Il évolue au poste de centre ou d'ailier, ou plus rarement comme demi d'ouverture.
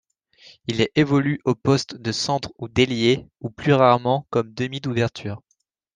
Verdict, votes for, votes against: rejected, 1, 2